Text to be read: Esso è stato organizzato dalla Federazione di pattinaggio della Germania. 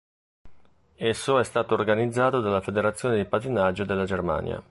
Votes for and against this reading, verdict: 2, 0, accepted